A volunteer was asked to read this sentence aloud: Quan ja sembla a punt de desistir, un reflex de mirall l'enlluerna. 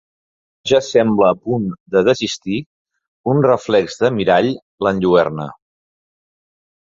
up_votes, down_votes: 1, 2